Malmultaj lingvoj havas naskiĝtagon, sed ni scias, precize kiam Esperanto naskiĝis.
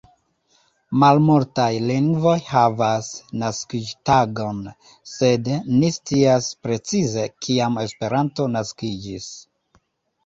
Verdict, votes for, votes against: rejected, 0, 2